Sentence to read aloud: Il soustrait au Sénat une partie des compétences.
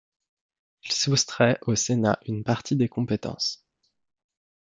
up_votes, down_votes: 2, 0